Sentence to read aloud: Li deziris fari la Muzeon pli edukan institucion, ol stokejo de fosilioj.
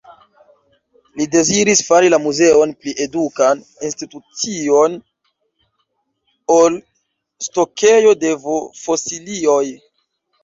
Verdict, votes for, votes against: rejected, 1, 2